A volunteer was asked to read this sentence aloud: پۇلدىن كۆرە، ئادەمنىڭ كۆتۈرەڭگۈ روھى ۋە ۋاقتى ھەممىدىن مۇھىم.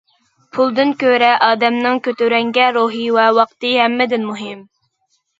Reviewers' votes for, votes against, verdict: 1, 2, rejected